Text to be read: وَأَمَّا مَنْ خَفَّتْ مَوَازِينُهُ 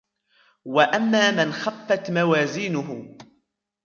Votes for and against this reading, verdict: 2, 0, accepted